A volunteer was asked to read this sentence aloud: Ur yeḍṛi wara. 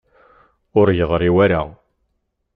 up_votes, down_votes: 2, 0